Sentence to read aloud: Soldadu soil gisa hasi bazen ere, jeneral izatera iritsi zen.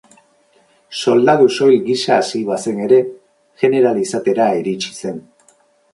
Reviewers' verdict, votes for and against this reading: accepted, 10, 0